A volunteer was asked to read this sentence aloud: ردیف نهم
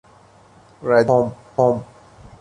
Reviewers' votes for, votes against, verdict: 0, 2, rejected